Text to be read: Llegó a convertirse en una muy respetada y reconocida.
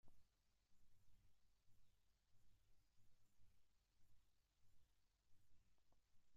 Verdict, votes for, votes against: rejected, 0, 2